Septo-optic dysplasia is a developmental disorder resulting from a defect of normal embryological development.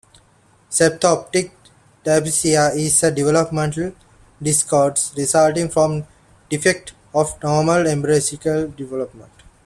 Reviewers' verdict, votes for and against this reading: rejected, 1, 2